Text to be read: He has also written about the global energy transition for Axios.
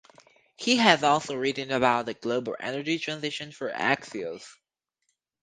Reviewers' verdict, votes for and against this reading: rejected, 2, 2